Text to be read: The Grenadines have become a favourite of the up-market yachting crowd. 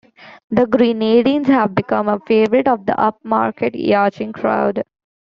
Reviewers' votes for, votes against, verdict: 0, 2, rejected